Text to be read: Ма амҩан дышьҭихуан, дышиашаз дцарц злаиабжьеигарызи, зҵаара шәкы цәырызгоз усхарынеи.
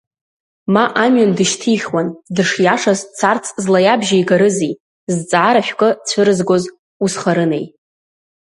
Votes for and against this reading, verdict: 2, 1, accepted